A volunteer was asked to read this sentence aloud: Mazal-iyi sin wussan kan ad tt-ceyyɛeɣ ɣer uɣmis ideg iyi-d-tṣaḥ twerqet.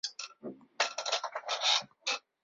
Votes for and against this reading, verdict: 0, 2, rejected